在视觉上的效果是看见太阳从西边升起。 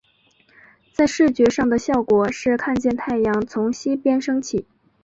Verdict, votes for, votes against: accepted, 2, 0